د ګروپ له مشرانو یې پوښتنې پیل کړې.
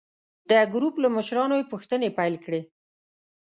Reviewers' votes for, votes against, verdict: 2, 0, accepted